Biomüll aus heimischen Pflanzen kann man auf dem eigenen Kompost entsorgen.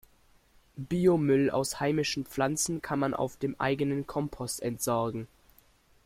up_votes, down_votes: 2, 0